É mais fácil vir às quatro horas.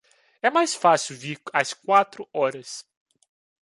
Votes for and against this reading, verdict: 2, 1, accepted